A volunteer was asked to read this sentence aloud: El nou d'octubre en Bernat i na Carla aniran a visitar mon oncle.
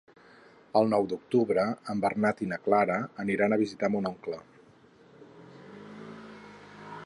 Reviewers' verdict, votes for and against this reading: rejected, 4, 6